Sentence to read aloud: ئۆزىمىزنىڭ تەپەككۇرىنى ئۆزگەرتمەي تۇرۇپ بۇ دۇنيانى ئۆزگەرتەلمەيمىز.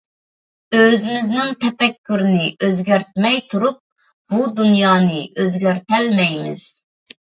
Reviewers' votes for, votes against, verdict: 2, 0, accepted